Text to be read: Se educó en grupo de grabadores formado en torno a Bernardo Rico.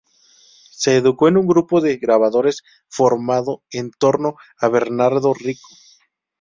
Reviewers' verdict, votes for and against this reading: rejected, 0, 2